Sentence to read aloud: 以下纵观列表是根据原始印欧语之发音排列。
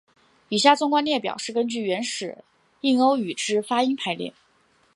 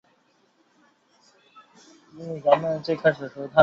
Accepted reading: first